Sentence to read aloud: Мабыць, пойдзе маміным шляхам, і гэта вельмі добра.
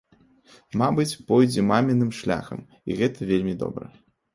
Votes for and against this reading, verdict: 2, 0, accepted